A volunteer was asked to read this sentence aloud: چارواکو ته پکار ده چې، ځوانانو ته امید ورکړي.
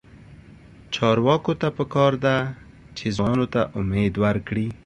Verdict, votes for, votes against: accepted, 2, 0